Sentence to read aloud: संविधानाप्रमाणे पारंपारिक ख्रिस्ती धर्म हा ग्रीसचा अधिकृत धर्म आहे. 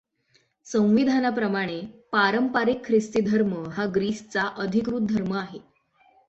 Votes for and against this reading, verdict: 6, 0, accepted